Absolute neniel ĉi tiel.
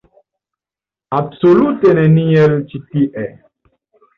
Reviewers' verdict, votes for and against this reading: accepted, 2, 0